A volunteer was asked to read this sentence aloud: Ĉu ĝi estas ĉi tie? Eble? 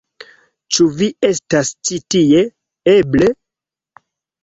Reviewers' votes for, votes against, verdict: 1, 2, rejected